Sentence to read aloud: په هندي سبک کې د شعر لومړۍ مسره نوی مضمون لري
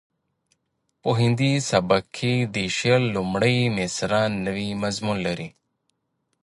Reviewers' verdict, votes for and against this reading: accepted, 2, 1